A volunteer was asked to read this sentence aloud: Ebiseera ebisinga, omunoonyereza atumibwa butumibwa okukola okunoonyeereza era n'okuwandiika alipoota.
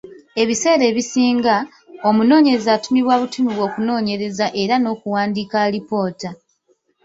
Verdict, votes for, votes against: rejected, 0, 2